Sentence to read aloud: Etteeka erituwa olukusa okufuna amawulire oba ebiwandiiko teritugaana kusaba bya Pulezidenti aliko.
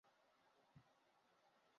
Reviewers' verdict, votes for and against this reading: rejected, 0, 2